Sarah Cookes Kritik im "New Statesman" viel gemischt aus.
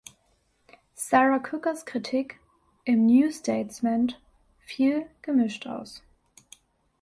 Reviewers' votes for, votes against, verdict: 1, 2, rejected